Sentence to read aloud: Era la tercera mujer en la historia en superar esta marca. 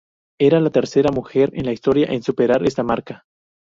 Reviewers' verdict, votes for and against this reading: accepted, 2, 0